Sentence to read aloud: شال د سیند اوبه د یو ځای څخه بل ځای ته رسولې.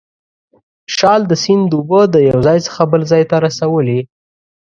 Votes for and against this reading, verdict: 2, 0, accepted